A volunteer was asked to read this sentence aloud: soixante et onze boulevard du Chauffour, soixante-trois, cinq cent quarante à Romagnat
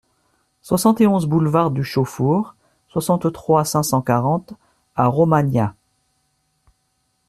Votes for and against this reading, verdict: 2, 0, accepted